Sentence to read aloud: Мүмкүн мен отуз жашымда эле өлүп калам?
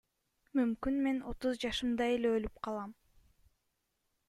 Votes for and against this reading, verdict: 2, 0, accepted